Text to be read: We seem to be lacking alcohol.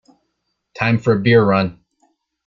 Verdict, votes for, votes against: rejected, 0, 2